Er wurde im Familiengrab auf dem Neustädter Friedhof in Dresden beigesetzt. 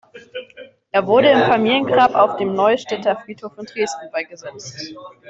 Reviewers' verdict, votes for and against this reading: rejected, 1, 2